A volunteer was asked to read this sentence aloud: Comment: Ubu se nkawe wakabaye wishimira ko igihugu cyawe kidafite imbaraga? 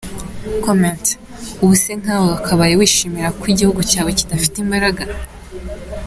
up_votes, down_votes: 2, 0